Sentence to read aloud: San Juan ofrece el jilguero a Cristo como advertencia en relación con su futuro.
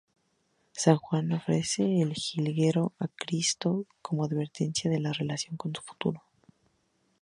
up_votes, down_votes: 2, 2